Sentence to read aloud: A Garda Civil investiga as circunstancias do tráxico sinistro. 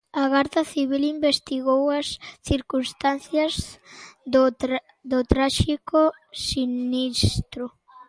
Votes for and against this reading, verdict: 1, 2, rejected